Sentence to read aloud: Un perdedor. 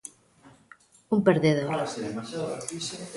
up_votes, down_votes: 1, 2